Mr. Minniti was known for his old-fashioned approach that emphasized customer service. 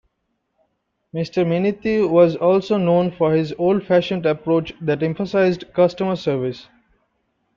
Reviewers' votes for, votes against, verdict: 1, 2, rejected